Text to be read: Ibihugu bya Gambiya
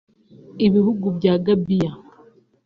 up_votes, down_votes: 2, 0